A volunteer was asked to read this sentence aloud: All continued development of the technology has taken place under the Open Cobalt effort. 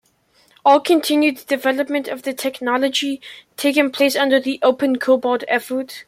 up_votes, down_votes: 0, 2